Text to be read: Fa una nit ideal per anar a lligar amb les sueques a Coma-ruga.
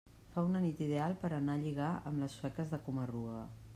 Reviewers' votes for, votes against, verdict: 2, 1, accepted